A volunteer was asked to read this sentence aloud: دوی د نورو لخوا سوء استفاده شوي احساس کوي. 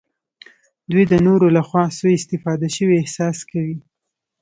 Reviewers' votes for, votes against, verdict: 2, 0, accepted